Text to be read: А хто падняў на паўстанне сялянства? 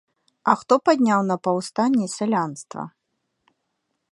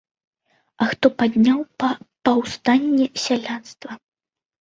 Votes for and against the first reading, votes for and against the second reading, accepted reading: 2, 0, 1, 2, first